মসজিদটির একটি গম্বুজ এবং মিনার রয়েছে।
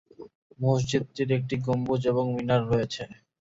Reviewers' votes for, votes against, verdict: 2, 0, accepted